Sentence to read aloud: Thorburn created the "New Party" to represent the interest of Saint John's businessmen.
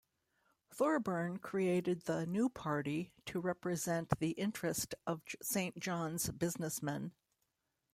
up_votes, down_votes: 2, 0